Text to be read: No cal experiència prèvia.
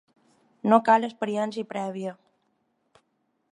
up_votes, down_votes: 2, 0